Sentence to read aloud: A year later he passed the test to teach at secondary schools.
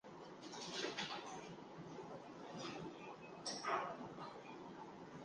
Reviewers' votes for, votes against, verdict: 0, 2, rejected